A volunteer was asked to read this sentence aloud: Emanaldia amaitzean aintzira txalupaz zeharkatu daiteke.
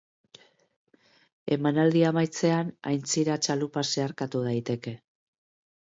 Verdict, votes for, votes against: accepted, 3, 0